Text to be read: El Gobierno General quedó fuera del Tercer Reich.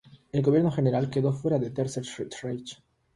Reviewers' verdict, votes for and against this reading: rejected, 0, 3